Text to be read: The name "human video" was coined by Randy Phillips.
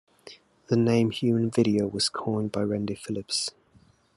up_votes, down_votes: 2, 0